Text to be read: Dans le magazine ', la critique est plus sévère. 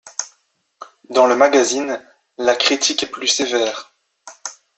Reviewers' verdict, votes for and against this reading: accepted, 2, 0